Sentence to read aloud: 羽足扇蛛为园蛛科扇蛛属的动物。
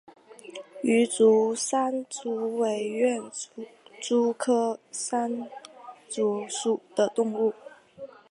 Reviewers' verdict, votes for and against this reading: accepted, 2, 0